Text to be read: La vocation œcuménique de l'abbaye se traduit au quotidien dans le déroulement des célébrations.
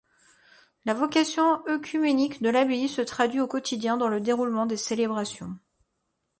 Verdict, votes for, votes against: accepted, 2, 0